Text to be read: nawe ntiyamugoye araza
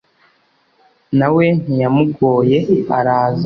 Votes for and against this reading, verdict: 2, 0, accepted